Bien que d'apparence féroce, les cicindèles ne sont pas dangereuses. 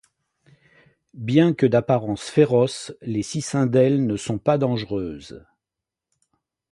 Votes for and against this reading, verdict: 2, 0, accepted